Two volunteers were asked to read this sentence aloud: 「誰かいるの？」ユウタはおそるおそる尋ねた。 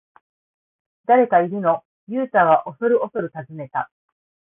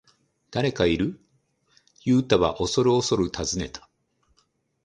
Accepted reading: first